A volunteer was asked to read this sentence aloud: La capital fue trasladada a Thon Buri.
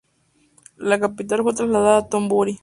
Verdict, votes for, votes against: accepted, 2, 0